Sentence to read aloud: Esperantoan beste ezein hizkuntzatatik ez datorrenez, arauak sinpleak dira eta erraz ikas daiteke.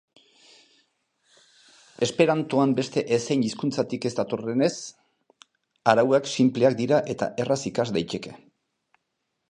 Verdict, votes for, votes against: accepted, 2, 0